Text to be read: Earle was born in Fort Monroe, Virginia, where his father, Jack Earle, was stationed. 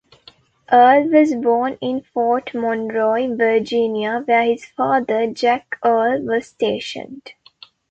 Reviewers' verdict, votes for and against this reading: rejected, 0, 2